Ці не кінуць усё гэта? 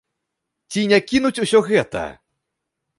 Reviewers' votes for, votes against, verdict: 2, 0, accepted